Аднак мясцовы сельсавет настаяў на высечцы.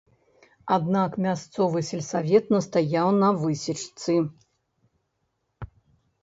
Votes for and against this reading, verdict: 1, 2, rejected